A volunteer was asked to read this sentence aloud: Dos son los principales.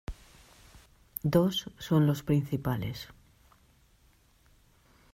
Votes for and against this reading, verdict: 2, 0, accepted